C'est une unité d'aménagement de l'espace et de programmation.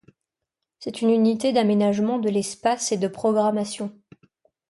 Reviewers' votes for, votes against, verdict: 2, 0, accepted